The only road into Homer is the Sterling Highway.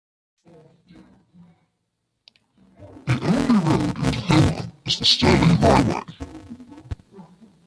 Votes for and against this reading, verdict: 0, 2, rejected